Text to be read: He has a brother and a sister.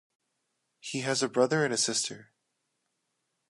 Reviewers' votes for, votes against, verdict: 2, 0, accepted